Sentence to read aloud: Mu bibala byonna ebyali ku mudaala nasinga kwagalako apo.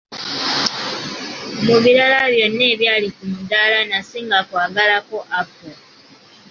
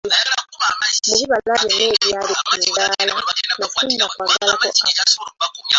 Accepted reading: first